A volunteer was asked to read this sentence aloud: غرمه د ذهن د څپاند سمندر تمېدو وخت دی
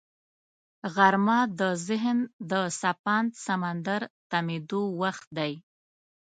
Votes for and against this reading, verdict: 2, 0, accepted